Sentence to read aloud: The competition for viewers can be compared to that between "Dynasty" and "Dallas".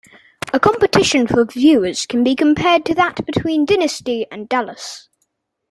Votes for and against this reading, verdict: 1, 2, rejected